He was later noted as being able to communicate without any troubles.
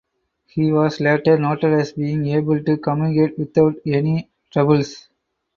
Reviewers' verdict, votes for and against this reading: accepted, 4, 0